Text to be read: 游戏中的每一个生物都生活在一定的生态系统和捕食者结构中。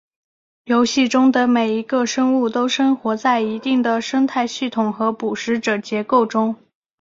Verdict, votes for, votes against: accepted, 4, 0